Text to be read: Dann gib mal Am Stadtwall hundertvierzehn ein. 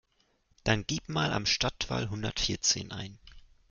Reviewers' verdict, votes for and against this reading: accepted, 2, 0